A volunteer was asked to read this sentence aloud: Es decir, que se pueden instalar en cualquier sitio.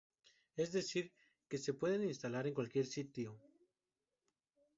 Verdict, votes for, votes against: rejected, 0, 2